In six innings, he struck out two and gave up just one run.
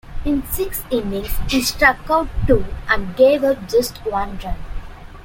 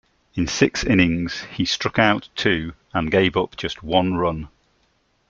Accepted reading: second